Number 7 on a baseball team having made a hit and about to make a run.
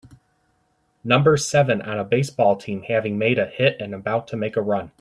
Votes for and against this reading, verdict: 0, 2, rejected